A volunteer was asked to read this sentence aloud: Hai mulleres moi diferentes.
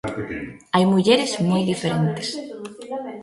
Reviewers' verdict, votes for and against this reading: rejected, 1, 2